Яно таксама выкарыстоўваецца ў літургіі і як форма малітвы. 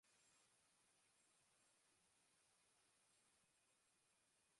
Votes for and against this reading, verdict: 0, 2, rejected